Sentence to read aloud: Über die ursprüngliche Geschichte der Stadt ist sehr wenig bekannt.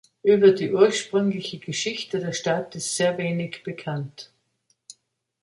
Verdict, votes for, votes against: accepted, 3, 0